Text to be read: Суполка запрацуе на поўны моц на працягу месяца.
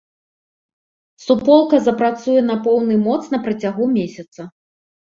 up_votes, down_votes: 2, 0